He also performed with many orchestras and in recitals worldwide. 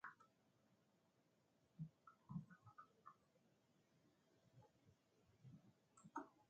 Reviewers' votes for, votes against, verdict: 0, 2, rejected